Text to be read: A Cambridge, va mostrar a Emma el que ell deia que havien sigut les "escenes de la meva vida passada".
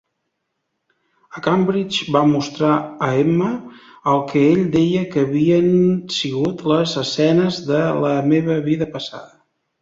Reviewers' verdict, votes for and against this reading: accepted, 3, 1